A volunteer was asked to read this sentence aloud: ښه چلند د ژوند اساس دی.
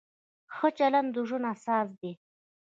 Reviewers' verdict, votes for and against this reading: rejected, 1, 2